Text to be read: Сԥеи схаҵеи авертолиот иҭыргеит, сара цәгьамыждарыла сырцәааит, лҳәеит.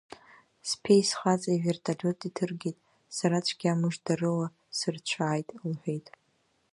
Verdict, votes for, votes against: rejected, 1, 2